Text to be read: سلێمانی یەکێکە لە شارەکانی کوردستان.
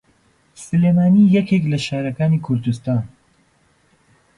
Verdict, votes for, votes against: rejected, 1, 2